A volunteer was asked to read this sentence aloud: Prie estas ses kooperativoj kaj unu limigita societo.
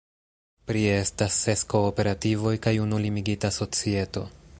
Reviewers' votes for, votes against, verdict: 2, 1, accepted